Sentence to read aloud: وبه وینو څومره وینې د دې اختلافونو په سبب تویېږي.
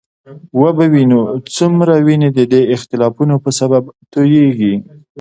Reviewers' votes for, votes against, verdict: 2, 1, accepted